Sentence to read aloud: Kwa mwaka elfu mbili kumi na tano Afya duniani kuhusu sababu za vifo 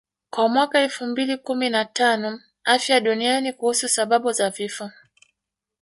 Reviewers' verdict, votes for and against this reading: rejected, 0, 2